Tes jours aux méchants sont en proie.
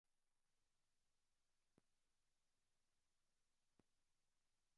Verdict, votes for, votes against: rejected, 0, 2